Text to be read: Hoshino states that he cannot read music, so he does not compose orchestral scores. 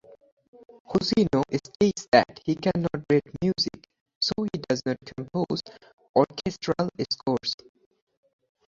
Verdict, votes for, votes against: rejected, 2, 2